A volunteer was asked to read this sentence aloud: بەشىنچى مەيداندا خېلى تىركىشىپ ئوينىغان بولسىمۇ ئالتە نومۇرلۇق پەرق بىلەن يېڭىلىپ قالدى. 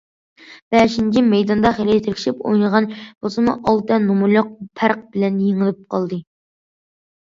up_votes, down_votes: 2, 0